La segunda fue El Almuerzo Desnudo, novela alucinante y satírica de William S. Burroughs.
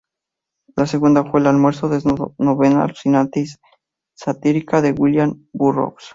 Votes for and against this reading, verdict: 2, 0, accepted